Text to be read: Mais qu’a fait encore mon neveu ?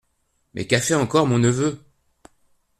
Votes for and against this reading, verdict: 2, 0, accepted